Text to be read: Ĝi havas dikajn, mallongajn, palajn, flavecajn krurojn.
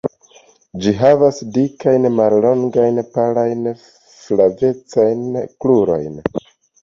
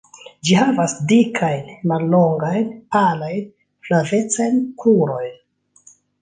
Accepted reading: second